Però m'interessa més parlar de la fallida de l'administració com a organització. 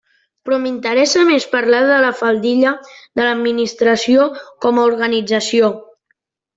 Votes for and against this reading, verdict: 1, 2, rejected